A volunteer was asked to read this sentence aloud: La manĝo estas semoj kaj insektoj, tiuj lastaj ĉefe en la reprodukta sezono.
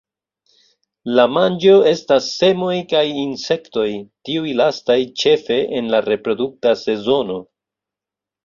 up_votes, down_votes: 2, 0